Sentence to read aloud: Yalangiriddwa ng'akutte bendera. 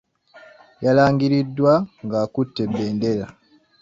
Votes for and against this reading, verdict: 2, 0, accepted